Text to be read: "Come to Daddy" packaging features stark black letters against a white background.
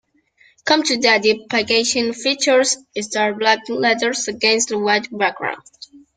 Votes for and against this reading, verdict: 0, 2, rejected